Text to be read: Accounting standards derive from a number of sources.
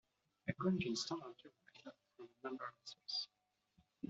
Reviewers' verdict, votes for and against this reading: rejected, 0, 2